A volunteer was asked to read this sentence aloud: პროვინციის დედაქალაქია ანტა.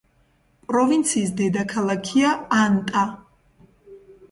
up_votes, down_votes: 2, 0